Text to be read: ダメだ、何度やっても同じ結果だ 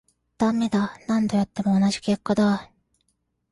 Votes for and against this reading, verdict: 2, 0, accepted